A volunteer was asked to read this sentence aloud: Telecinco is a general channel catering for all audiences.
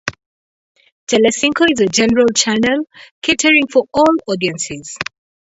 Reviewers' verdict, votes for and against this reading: accepted, 2, 0